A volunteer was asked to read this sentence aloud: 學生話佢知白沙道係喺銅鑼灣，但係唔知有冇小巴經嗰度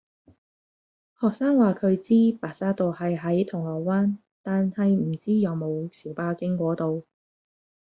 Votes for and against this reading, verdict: 1, 2, rejected